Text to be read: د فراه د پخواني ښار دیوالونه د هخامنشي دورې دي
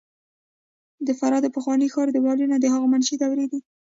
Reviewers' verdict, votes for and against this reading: accepted, 2, 0